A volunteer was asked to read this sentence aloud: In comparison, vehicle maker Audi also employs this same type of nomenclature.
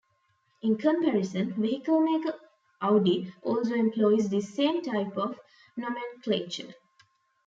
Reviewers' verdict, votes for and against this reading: rejected, 1, 2